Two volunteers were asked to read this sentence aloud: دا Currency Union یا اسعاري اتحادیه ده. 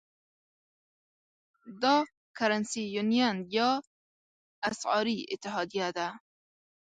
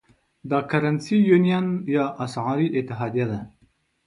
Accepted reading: second